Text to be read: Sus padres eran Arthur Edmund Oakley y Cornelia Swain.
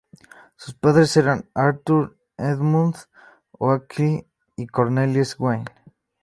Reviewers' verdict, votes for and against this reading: rejected, 0, 2